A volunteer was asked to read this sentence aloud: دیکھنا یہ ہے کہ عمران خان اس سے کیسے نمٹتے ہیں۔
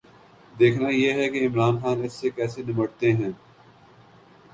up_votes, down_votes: 4, 0